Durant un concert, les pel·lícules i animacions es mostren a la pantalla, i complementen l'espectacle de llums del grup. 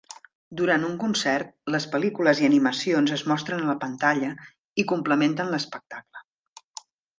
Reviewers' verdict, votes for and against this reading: rejected, 0, 2